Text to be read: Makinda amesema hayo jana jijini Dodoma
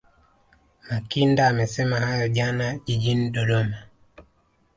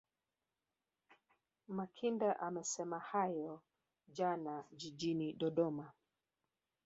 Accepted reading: first